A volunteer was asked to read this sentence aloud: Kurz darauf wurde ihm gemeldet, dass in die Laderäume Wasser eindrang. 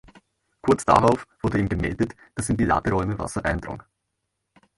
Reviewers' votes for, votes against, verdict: 2, 0, accepted